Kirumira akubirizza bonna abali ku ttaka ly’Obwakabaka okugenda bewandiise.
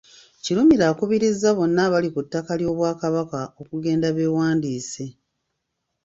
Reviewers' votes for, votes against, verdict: 2, 0, accepted